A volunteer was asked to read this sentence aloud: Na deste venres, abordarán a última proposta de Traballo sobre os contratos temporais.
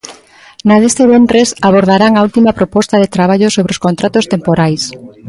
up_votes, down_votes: 1, 2